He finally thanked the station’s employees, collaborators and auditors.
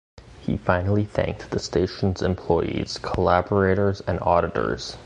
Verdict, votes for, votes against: accepted, 2, 0